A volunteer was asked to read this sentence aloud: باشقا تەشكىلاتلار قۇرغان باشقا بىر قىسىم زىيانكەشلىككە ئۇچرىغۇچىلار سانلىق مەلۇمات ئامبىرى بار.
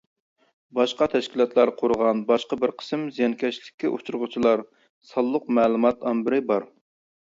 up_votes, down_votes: 2, 0